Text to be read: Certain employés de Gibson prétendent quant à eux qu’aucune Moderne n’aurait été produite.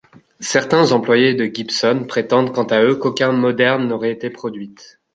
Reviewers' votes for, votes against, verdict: 0, 2, rejected